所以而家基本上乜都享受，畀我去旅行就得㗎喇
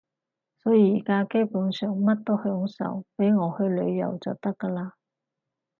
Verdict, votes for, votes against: rejected, 2, 4